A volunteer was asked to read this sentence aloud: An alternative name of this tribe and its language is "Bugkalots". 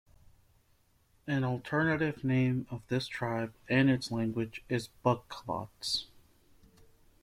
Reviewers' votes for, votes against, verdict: 1, 2, rejected